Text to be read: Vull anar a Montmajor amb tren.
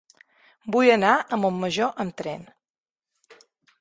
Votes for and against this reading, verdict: 4, 0, accepted